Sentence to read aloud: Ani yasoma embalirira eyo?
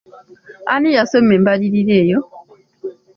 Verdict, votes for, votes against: accepted, 2, 0